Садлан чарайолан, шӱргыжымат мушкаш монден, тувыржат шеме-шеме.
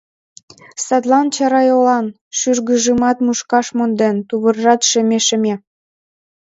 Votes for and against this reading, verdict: 2, 0, accepted